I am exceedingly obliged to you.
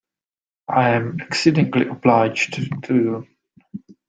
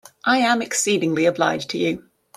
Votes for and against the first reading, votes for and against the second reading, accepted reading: 0, 2, 2, 0, second